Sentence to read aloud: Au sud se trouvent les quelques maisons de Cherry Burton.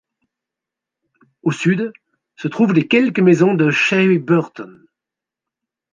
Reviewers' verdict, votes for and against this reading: accepted, 2, 0